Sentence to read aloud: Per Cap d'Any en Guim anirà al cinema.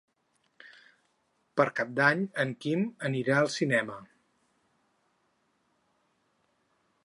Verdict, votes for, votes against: rejected, 2, 6